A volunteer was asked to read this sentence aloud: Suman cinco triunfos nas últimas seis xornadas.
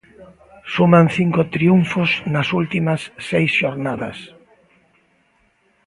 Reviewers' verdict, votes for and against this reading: accepted, 2, 0